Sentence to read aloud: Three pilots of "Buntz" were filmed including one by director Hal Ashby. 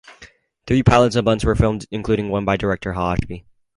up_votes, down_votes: 0, 2